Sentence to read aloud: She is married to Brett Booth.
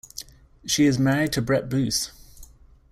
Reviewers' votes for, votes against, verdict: 2, 0, accepted